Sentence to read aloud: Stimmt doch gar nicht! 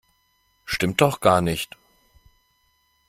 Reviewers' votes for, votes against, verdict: 2, 0, accepted